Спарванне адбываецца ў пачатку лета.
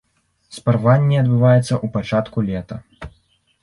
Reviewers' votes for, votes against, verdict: 0, 2, rejected